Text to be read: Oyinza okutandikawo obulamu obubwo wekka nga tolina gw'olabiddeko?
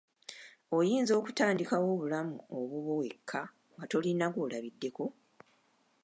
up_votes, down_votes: 2, 0